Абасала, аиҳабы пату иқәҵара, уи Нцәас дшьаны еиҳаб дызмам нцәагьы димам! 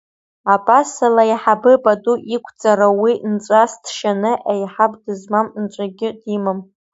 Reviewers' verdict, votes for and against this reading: accepted, 2, 1